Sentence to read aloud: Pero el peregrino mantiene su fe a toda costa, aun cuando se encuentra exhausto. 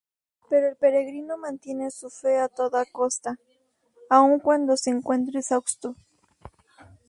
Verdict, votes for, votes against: accepted, 2, 0